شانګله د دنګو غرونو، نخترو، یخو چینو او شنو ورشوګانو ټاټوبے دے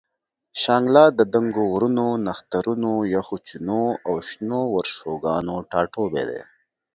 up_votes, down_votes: 1, 2